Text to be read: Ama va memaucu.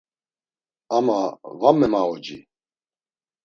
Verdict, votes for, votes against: rejected, 1, 2